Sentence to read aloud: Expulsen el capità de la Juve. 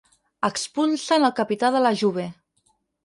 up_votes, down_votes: 2, 4